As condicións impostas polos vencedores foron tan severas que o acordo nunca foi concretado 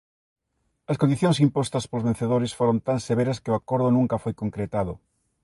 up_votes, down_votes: 2, 0